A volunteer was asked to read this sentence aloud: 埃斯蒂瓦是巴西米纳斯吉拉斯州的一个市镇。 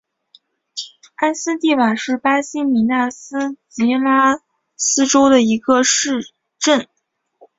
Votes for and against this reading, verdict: 0, 2, rejected